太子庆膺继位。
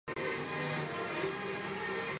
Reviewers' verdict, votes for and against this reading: rejected, 0, 2